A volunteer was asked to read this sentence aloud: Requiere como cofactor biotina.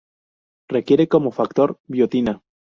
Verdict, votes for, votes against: rejected, 0, 2